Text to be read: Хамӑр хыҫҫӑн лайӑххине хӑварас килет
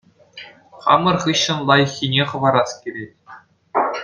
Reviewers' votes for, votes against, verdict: 2, 0, accepted